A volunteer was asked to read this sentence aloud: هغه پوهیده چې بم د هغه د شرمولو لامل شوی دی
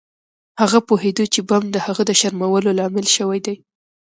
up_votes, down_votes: 2, 1